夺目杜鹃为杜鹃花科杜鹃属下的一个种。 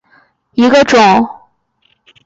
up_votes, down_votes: 1, 2